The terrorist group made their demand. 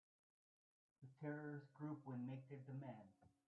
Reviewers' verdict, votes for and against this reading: rejected, 0, 2